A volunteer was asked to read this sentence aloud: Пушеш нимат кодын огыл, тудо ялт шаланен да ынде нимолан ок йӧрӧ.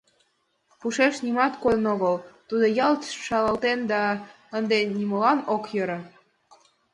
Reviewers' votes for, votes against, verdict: 1, 2, rejected